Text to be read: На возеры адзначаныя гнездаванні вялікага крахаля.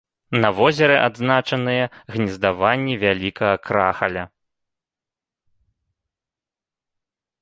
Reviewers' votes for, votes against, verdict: 2, 0, accepted